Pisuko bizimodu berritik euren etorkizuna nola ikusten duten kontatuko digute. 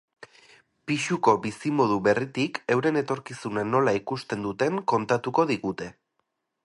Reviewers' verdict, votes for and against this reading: accepted, 2, 0